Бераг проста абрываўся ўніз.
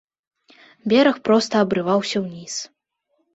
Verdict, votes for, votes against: accepted, 2, 0